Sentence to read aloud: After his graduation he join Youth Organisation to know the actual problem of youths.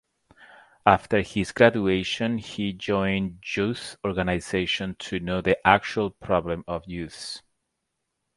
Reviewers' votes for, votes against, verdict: 0, 2, rejected